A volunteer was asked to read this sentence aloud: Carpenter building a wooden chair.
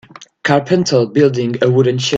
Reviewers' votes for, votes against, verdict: 0, 2, rejected